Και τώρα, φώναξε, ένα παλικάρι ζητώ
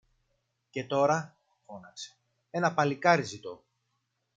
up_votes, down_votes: 2, 0